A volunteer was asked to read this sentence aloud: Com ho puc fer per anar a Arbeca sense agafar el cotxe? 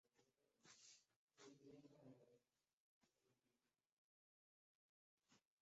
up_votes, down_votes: 0, 2